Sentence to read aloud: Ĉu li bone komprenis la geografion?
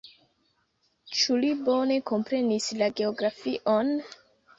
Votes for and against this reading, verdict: 0, 2, rejected